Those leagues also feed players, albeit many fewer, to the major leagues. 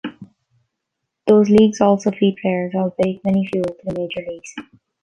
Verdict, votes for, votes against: rejected, 0, 2